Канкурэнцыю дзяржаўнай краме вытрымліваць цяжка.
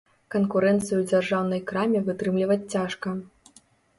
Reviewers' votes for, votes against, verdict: 2, 0, accepted